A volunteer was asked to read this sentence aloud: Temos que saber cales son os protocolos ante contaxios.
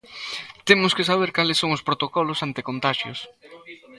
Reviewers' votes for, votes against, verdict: 1, 2, rejected